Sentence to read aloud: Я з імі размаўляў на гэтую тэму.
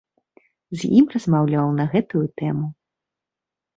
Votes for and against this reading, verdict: 1, 2, rejected